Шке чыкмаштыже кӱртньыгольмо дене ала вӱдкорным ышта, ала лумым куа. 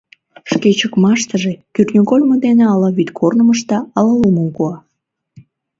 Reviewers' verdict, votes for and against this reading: accepted, 2, 0